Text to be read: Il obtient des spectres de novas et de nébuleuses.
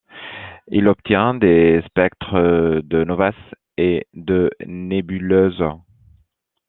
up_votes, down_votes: 1, 2